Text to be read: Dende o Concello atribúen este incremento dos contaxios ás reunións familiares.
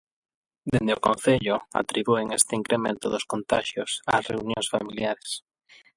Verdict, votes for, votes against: accepted, 8, 0